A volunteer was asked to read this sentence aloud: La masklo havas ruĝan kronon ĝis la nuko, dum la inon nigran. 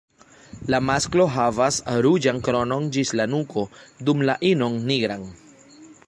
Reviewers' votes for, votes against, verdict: 1, 2, rejected